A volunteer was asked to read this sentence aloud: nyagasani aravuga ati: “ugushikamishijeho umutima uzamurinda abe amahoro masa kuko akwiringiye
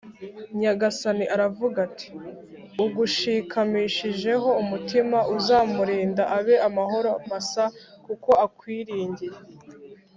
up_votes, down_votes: 2, 0